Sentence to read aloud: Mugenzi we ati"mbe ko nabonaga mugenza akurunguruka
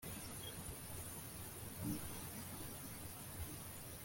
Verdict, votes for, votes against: rejected, 1, 2